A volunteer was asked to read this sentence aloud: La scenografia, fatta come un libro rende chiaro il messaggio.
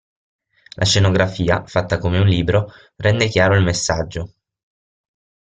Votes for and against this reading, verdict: 6, 0, accepted